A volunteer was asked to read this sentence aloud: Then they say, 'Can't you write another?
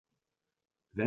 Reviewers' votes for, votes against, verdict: 0, 2, rejected